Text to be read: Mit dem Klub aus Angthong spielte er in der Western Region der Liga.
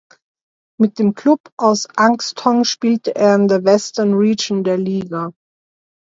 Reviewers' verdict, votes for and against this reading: rejected, 1, 2